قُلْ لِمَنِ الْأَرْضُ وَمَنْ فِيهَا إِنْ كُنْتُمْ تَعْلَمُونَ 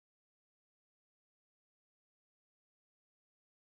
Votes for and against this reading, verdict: 1, 2, rejected